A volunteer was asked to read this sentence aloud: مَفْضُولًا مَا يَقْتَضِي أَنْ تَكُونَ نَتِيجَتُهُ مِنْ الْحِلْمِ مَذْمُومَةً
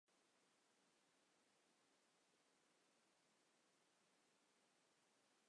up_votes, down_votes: 0, 2